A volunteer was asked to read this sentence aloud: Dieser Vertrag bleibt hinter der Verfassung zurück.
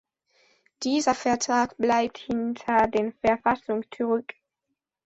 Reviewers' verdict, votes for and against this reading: rejected, 0, 3